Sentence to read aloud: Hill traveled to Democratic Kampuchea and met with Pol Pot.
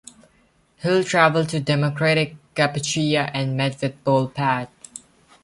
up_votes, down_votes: 1, 2